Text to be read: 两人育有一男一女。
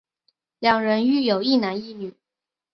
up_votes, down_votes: 3, 0